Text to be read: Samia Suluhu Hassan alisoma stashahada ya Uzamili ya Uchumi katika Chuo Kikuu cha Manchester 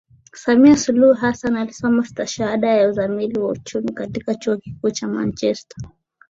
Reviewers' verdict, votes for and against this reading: accepted, 3, 0